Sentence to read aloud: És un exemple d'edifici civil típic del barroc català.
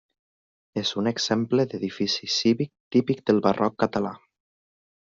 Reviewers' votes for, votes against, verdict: 0, 2, rejected